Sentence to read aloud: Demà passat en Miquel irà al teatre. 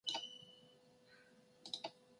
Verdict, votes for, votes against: rejected, 0, 2